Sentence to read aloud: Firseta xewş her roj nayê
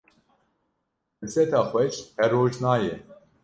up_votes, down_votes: 0, 2